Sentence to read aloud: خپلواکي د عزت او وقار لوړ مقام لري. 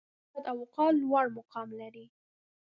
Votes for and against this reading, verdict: 0, 2, rejected